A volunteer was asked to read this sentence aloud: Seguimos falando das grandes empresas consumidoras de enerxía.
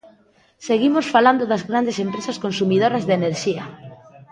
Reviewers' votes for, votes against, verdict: 2, 0, accepted